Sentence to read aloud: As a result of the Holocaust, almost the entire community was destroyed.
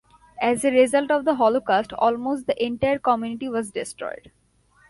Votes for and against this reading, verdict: 1, 2, rejected